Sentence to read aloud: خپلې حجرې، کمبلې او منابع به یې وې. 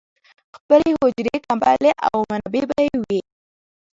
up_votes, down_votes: 0, 2